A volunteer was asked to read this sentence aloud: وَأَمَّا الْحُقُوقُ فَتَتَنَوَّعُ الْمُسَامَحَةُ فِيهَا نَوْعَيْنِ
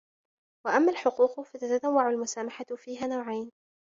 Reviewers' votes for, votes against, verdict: 0, 2, rejected